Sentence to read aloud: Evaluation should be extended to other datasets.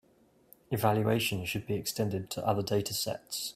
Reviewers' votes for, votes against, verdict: 4, 0, accepted